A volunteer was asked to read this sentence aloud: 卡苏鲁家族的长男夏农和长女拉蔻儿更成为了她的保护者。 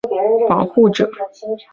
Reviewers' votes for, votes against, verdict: 1, 2, rejected